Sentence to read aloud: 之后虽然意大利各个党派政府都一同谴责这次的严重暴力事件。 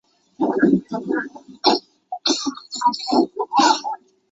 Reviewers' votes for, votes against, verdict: 0, 2, rejected